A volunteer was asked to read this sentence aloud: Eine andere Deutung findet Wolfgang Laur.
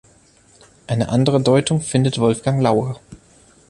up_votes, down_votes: 3, 0